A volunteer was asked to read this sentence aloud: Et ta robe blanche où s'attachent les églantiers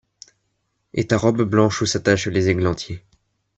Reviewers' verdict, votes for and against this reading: accepted, 2, 0